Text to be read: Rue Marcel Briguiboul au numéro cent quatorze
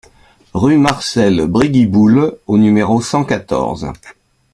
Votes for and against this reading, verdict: 2, 0, accepted